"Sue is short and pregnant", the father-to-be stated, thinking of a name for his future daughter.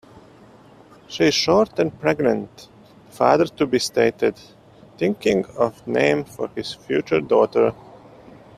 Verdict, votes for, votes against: rejected, 1, 2